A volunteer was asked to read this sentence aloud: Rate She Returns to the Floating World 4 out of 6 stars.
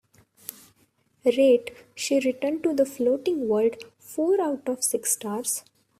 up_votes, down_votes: 0, 2